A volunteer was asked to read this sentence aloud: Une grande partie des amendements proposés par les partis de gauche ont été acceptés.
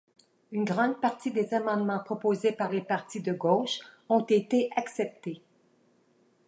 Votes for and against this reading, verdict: 2, 0, accepted